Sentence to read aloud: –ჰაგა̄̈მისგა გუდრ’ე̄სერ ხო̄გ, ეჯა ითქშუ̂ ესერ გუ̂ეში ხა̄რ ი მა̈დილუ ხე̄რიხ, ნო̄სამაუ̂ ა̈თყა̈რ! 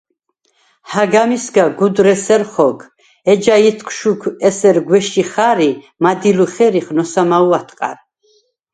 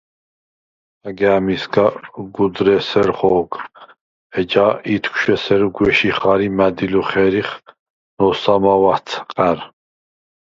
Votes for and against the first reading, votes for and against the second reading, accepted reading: 2, 4, 4, 0, second